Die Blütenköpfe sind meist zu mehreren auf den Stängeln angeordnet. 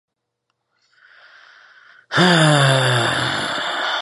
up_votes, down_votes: 0, 2